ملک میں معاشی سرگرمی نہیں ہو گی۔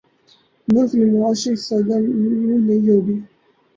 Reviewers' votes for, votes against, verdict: 2, 4, rejected